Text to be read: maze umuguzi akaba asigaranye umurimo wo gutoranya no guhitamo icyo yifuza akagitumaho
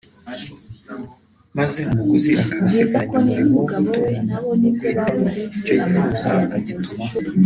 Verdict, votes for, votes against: rejected, 1, 2